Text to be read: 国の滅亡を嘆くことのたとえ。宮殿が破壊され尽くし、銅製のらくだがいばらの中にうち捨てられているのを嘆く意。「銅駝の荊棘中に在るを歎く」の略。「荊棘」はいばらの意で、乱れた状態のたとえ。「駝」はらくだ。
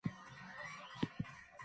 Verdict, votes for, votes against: rejected, 0, 2